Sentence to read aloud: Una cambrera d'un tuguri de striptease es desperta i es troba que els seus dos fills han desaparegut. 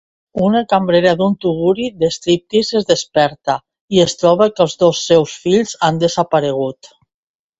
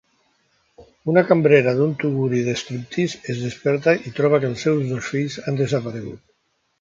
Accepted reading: first